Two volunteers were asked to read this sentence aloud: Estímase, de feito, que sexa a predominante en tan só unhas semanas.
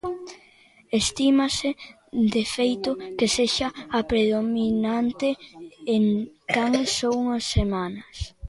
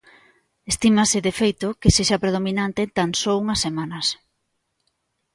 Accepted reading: second